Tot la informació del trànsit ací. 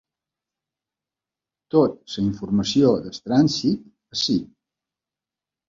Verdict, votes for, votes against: rejected, 0, 2